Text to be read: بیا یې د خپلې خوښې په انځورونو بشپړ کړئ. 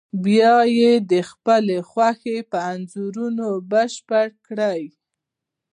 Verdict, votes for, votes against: rejected, 0, 2